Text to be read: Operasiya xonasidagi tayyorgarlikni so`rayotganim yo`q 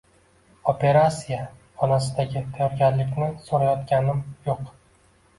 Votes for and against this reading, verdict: 1, 2, rejected